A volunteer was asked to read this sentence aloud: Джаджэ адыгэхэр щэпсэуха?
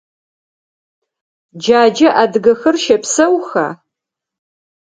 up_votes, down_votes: 4, 0